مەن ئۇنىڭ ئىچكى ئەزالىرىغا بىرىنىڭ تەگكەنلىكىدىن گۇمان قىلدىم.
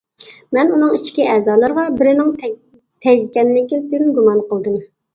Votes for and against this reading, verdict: 0, 2, rejected